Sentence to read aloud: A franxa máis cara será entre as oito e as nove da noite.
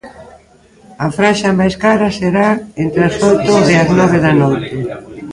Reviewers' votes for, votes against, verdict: 0, 2, rejected